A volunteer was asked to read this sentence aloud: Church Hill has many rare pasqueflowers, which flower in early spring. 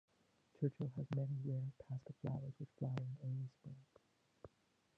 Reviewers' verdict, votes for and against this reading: rejected, 0, 2